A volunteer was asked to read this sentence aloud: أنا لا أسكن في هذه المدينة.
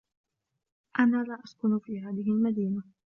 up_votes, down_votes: 1, 2